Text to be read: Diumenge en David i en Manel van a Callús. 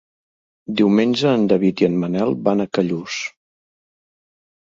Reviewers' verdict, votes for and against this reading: accepted, 2, 0